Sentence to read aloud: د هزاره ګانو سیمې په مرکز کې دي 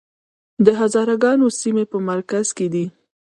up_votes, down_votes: 1, 2